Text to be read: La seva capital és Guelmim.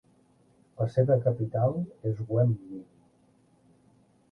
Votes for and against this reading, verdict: 1, 2, rejected